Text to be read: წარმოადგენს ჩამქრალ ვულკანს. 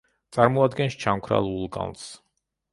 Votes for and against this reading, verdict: 2, 0, accepted